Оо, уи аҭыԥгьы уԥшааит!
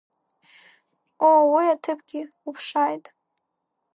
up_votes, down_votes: 4, 1